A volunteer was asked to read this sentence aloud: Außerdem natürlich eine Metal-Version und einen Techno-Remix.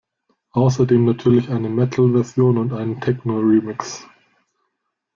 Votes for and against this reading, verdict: 2, 0, accepted